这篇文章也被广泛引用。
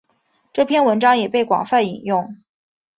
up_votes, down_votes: 2, 0